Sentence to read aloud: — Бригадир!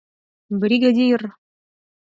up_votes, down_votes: 4, 2